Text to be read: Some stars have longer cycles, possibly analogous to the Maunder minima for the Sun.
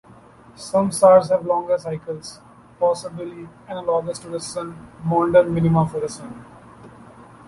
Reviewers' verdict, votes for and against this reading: rejected, 0, 2